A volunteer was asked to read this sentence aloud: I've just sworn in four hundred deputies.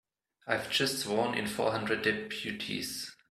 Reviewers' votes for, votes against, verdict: 2, 0, accepted